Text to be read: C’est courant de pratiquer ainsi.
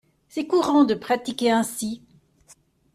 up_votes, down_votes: 2, 0